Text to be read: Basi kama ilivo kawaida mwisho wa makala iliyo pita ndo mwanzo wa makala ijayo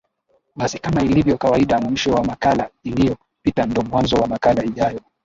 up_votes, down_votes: 2, 2